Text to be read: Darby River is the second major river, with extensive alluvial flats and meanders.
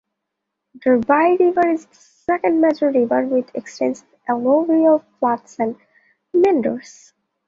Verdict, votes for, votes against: rejected, 0, 2